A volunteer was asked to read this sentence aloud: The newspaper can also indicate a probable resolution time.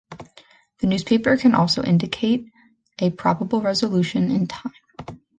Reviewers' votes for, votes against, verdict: 0, 2, rejected